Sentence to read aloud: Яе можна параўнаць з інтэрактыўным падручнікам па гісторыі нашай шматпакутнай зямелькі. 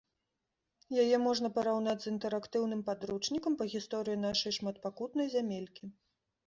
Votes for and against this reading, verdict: 2, 0, accepted